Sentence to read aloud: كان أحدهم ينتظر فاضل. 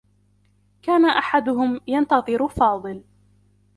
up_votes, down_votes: 2, 0